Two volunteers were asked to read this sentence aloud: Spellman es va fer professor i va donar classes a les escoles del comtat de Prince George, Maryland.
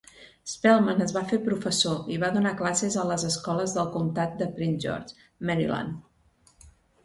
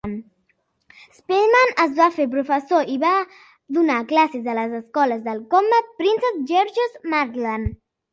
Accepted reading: first